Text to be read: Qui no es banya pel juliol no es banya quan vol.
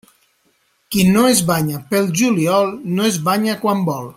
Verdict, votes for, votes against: accepted, 3, 0